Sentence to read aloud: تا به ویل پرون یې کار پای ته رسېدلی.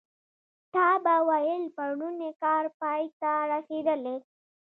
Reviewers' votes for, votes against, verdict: 2, 0, accepted